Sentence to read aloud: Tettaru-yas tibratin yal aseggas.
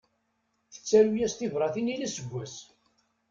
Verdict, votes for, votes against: accepted, 2, 0